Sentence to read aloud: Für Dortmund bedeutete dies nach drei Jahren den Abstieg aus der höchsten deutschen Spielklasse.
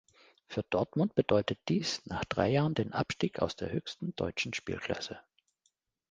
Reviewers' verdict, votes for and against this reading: rejected, 1, 2